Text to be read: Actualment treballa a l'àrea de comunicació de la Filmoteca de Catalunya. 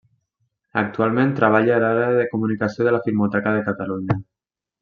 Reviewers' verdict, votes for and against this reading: rejected, 1, 2